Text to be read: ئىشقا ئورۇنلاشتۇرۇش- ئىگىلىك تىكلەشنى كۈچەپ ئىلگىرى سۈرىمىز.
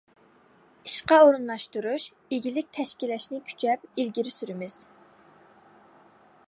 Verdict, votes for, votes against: rejected, 0, 2